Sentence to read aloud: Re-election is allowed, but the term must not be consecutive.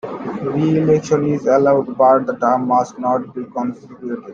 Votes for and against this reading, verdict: 0, 2, rejected